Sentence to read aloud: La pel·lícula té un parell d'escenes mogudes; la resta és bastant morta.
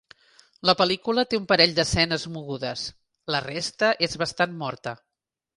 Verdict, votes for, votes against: accepted, 2, 0